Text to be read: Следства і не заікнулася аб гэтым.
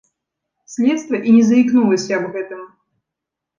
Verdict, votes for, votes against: accepted, 3, 0